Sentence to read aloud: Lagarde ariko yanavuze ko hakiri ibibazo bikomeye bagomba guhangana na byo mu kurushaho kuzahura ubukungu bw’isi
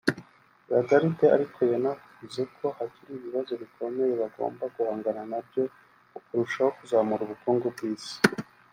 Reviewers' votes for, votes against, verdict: 0, 2, rejected